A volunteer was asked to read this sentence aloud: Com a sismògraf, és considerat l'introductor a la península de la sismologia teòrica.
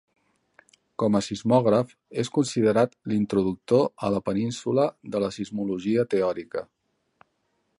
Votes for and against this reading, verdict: 3, 0, accepted